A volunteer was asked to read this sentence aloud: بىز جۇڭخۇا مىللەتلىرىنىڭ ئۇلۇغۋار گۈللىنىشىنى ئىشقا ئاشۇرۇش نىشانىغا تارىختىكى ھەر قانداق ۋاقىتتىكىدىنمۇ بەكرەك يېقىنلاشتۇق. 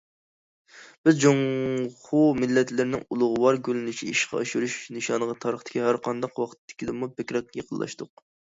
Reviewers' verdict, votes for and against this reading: rejected, 0, 2